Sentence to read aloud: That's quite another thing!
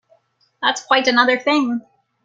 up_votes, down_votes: 2, 0